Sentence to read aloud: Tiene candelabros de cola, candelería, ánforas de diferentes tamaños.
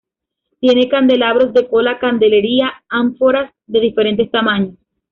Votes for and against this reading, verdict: 2, 1, accepted